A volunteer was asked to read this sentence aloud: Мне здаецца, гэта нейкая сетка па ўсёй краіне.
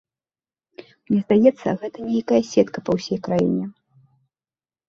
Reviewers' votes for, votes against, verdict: 1, 2, rejected